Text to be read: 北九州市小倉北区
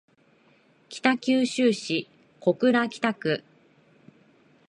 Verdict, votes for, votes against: accepted, 2, 0